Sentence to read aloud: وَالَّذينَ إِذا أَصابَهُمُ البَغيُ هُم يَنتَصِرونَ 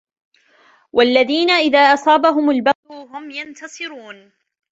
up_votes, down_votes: 2, 1